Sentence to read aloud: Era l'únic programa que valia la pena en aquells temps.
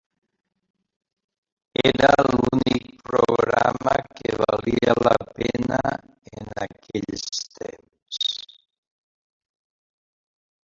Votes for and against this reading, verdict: 1, 2, rejected